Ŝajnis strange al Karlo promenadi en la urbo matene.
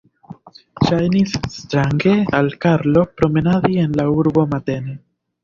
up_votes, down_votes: 3, 0